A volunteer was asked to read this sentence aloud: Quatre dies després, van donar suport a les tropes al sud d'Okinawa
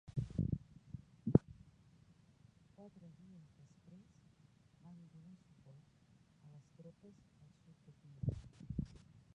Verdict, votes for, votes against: rejected, 1, 2